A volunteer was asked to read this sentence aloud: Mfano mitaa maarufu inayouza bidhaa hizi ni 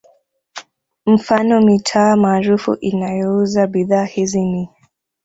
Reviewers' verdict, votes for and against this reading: rejected, 1, 2